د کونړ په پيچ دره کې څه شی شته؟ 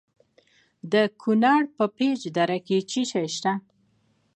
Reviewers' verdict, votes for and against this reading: accepted, 2, 0